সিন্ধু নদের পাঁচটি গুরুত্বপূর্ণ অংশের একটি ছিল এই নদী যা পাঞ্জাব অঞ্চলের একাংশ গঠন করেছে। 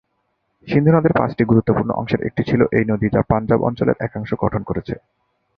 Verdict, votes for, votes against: accepted, 15, 3